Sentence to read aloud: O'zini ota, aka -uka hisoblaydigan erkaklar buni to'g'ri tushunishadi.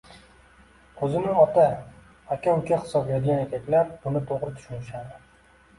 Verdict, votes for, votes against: accepted, 2, 0